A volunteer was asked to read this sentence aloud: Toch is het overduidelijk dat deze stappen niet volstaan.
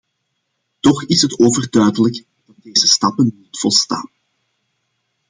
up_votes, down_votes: 0, 2